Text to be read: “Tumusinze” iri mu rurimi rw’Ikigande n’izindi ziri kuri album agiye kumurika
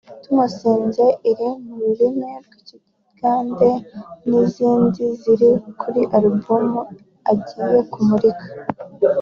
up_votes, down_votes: 2, 0